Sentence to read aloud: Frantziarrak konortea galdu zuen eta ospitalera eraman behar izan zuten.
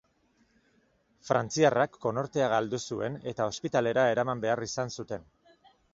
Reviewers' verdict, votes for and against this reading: accepted, 2, 0